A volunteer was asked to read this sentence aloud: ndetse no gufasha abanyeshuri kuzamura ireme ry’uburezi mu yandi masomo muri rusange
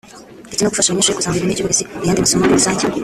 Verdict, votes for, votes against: rejected, 0, 2